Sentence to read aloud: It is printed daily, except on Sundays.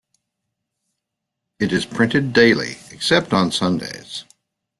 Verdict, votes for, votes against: accepted, 2, 0